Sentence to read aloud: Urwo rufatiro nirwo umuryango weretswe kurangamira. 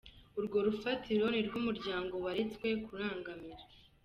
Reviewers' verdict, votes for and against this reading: accepted, 3, 0